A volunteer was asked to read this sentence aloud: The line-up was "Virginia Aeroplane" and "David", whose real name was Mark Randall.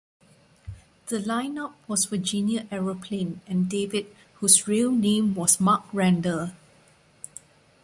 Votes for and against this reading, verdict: 2, 0, accepted